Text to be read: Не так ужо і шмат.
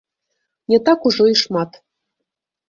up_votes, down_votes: 1, 2